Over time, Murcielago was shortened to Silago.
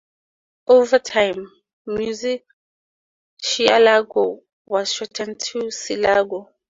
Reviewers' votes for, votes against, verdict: 0, 2, rejected